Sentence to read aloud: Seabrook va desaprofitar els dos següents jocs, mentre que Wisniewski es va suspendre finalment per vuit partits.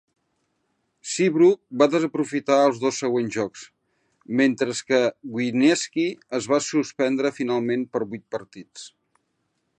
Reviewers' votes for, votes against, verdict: 0, 3, rejected